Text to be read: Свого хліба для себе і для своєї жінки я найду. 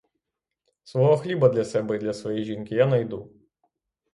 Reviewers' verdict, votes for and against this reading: accepted, 6, 0